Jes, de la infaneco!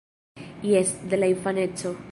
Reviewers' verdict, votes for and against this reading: accepted, 2, 0